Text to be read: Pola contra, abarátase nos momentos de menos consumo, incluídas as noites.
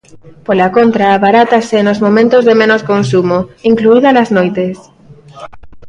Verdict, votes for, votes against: rejected, 1, 2